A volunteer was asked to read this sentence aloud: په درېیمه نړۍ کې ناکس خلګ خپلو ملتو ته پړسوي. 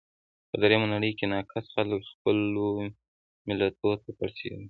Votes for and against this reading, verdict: 1, 2, rejected